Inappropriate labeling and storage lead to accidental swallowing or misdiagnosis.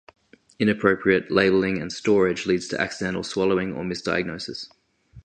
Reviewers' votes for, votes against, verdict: 0, 2, rejected